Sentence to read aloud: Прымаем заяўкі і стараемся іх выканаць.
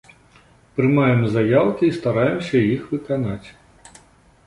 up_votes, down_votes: 0, 2